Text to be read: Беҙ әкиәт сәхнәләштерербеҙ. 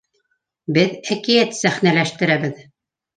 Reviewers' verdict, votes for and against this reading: rejected, 0, 2